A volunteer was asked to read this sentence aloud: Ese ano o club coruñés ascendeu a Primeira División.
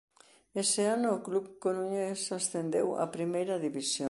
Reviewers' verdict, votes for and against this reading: rejected, 0, 2